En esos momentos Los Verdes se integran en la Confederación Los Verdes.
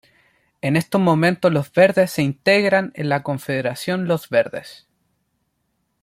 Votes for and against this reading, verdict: 1, 3, rejected